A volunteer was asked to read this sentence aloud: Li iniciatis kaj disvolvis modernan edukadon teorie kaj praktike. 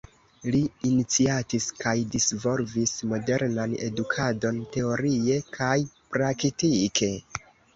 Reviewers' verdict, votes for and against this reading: rejected, 1, 2